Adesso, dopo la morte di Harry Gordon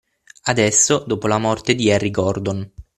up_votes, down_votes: 6, 0